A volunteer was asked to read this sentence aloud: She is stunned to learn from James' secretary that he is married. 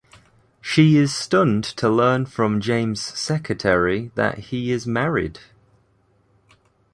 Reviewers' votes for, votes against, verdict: 2, 0, accepted